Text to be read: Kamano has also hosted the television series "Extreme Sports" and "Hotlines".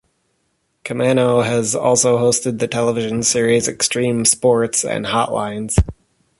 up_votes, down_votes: 0, 2